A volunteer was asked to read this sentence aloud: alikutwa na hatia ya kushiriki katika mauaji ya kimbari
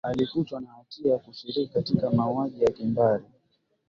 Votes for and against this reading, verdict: 10, 2, accepted